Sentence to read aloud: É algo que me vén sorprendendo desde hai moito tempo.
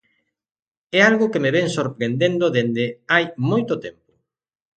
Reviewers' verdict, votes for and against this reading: rejected, 0, 2